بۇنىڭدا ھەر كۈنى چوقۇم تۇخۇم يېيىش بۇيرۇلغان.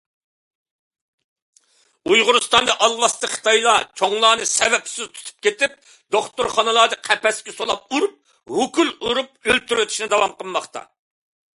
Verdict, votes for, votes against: rejected, 0, 2